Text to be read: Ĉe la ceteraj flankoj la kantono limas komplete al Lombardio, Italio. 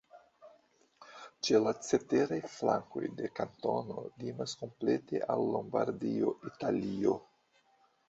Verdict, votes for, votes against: rejected, 1, 2